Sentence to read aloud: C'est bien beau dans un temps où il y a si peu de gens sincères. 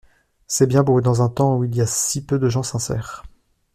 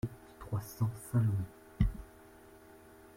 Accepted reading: first